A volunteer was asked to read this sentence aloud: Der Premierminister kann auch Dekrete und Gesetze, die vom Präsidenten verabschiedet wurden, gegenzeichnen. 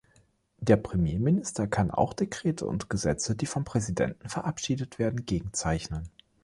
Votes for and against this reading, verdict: 0, 2, rejected